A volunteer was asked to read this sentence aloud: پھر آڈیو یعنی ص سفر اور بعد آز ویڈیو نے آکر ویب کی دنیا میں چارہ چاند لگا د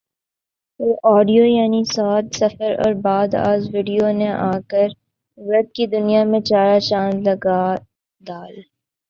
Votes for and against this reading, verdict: 6, 0, accepted